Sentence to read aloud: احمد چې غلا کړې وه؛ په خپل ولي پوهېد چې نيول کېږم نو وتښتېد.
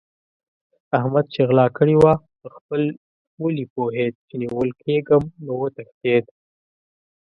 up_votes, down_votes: 1, 2